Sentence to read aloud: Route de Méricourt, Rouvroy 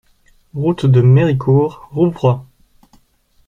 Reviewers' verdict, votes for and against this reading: accepted, 2, 0